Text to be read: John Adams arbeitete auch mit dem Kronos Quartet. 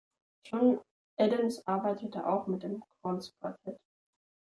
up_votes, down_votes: 1, 2